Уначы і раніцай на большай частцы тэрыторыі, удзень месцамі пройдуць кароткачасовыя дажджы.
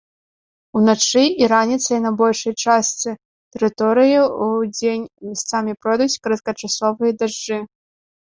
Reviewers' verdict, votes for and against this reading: rejected, 0, 2